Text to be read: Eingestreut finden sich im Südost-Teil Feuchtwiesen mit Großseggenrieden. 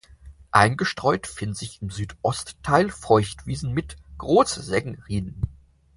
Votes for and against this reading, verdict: 0, 4, rejected